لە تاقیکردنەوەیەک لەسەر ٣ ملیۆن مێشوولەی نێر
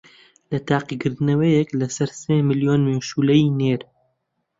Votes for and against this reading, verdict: 0, 2, rejected